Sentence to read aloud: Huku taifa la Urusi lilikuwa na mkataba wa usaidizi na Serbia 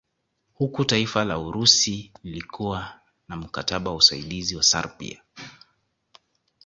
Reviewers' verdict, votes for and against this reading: accepted, 2, 0